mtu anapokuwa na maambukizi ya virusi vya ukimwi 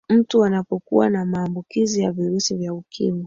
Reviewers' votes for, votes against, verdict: 3, 1, accepted